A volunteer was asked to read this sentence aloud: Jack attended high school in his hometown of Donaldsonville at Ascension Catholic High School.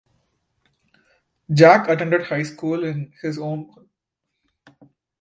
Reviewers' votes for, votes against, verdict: 0, 2, rejected